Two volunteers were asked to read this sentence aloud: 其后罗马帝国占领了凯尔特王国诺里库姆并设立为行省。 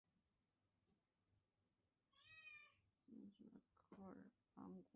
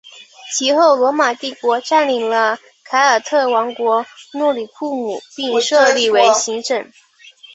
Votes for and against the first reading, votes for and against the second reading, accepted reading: 1, 2, 4, 0, second